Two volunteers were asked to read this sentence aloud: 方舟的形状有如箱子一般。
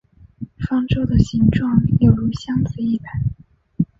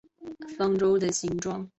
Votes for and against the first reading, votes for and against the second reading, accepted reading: 4, 0, 0, 2, first